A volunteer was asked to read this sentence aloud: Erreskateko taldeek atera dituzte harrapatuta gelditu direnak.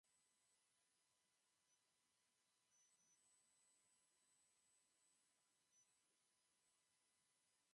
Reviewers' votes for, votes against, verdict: 0, 4, rejected